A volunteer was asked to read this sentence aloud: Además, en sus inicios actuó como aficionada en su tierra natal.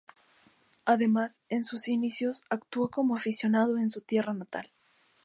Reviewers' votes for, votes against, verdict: 0, 2, rejected